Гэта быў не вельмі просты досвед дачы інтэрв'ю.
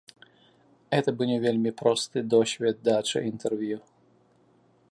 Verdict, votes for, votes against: rejected, 0, 2